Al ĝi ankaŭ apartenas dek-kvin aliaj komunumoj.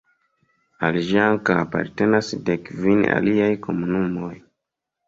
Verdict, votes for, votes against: rejected, 1, 2